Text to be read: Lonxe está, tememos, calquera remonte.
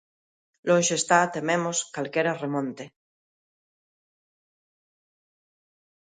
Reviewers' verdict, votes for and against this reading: accepted, 2, 0